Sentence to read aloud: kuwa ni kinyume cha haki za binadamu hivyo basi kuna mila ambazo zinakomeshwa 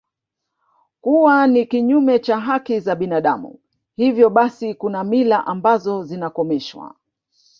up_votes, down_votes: 0, 2